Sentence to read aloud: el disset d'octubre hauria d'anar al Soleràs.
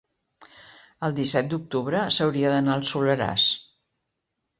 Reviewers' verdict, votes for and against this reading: rejected, 0, 2